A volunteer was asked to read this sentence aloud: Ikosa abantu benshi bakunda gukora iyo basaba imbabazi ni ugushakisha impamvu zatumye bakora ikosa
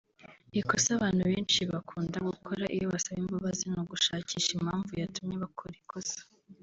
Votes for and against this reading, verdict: 0, 2, rejected